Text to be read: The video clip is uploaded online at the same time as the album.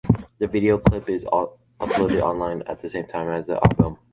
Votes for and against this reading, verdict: 1, 2, rejected